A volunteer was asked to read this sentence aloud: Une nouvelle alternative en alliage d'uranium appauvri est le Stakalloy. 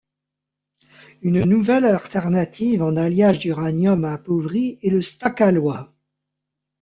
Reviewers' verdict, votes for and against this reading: rejected, 1, 2